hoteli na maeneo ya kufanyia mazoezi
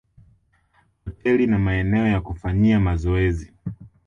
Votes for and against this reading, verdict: 1, 2, rejected